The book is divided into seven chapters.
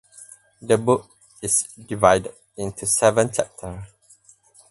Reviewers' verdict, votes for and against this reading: rejected, 2, 4